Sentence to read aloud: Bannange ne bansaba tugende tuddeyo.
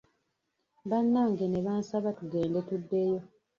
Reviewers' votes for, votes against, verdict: 0, 2, rejected